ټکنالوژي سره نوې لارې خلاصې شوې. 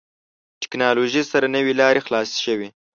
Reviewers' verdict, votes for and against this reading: accepted, 2, 0